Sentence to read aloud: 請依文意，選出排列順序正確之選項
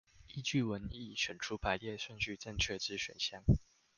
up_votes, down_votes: 0, 2